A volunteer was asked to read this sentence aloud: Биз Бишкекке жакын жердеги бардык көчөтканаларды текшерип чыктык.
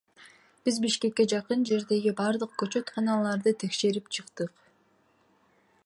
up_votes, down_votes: 2, 0